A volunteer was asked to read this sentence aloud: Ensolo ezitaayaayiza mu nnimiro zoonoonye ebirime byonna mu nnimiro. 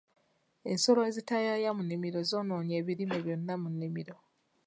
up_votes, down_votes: 2, 0